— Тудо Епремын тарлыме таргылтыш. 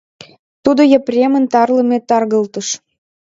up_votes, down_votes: 2, 0